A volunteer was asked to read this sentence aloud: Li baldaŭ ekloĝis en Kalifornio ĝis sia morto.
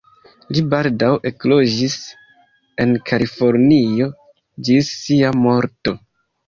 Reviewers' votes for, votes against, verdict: 2, 1, accepted